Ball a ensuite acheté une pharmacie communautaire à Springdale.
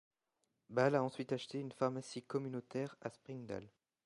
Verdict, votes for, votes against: accepted, 2, 1